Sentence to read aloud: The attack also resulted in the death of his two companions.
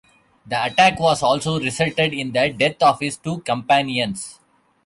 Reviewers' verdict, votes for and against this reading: rejected, 0, 2